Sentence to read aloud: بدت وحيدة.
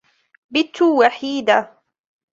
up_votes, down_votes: 1, 2